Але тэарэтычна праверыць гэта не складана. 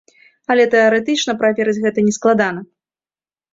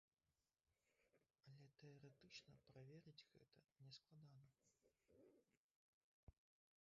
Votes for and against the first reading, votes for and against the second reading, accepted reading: 2, 0, 0, 2, first